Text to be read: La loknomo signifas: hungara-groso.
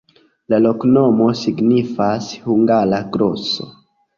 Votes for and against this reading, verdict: 2, 0, accepted